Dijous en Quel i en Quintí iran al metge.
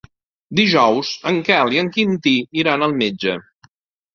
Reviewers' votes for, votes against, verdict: 3, 0, accepted